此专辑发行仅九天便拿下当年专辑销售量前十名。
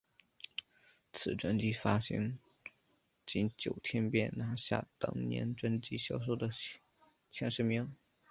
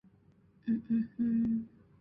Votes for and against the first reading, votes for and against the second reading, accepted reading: 3, 1, 1, 4, first